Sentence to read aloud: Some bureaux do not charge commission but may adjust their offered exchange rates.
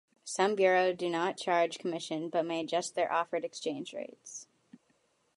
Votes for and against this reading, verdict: 2, 0, accepted